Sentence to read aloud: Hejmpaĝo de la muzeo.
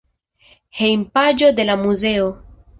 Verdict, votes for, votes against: accepted, 2, 0